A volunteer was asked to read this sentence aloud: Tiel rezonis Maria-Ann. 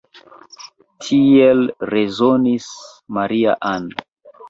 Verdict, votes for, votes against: rejected, 0, 2